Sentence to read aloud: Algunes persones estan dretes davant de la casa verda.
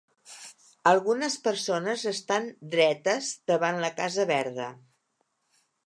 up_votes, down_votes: 1, 2